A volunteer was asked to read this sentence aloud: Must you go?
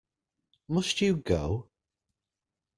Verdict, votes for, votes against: accepted, 2, 0